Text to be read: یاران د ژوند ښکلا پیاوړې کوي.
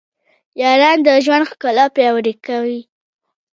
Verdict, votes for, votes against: rejected, 1, 2